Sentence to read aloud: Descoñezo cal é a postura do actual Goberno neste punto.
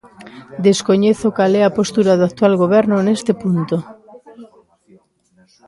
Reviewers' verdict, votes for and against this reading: rejected, 1, 2